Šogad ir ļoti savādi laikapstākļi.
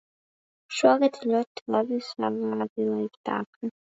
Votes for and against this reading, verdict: 0, 2, rejected